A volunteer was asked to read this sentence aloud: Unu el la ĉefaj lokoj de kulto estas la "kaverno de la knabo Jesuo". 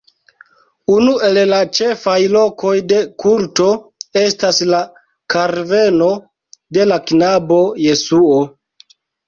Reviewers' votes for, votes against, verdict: 0, 3, rejected